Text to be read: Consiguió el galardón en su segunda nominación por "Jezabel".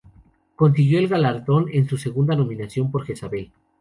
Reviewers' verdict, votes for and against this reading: accepted, 2, 0